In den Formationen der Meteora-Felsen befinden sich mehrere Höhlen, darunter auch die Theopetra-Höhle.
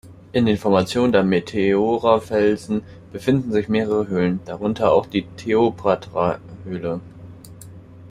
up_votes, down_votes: 0, 2